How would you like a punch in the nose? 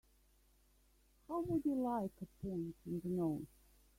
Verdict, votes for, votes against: rejected, 1, 2